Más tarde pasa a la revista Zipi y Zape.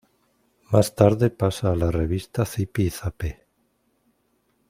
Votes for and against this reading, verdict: 1, 3, rejected